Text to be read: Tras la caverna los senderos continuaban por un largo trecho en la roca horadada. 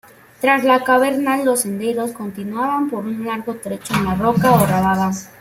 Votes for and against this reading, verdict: 0, 2, rejected